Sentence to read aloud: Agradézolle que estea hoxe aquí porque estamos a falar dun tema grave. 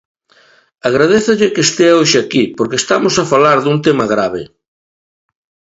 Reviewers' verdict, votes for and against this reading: accepted, 2, 0